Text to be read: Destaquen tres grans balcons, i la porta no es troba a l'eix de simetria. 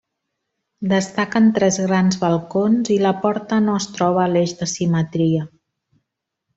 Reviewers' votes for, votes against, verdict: 4, 0, accepted